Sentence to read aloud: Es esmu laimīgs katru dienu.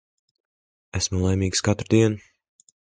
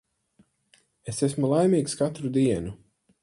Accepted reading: second